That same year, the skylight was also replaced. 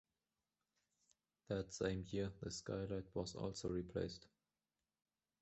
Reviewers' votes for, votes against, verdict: 2, 1, accepted